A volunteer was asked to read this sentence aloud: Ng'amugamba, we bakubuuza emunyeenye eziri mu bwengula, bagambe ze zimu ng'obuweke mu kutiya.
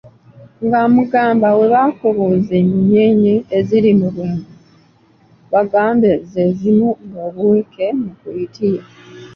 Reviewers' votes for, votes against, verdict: 0, 2, rejected